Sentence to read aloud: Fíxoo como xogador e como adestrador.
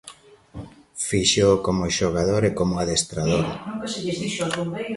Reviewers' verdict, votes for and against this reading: rejected, 1, 2